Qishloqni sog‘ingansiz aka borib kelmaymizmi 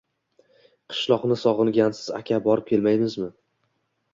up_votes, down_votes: 2, 1